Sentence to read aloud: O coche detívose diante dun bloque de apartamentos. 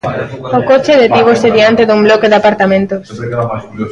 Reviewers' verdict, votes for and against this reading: rejected, 0, 2